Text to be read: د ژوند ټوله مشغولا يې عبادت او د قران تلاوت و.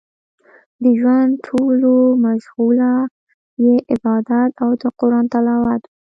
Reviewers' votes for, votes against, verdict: 2, 0, accepted